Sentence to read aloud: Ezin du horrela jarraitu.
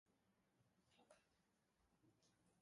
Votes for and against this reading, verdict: 0, 2, rejected